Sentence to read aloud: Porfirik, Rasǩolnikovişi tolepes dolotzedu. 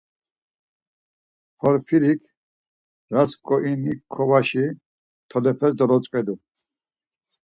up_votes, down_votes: 2, 4